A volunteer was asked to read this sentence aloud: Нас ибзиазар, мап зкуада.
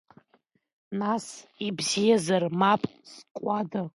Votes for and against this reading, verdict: 1, 2, rejected